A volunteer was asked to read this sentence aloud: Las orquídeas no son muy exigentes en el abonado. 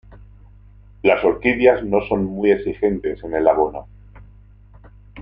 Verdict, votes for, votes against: rejected, 0, 2